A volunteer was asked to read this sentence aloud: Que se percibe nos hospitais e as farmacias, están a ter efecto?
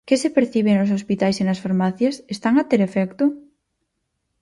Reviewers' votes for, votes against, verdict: 2, 4, rejected